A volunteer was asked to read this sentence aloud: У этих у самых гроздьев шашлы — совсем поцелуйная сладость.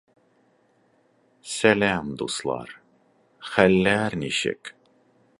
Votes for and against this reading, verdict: 0, 2, rejected